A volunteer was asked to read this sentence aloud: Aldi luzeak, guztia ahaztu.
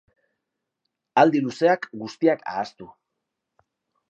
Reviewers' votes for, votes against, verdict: 1, 2, rejected